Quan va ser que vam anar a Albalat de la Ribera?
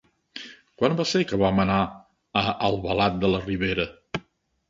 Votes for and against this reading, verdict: 3, 0, accepted